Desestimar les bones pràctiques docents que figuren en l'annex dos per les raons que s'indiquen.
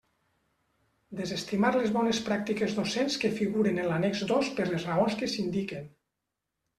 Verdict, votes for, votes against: accepted, 3, 0